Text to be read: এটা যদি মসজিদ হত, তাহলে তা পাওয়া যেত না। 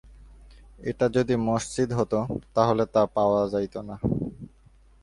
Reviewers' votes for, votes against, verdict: 1, 2, rejected